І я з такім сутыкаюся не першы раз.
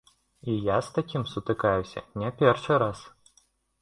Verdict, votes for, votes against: accepted, 2, 0